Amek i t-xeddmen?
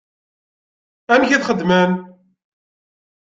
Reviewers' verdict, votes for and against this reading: accepted, 2, 0